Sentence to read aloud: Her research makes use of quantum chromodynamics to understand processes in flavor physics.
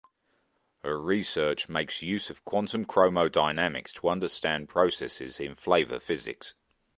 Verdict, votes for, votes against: accepted, 2, 0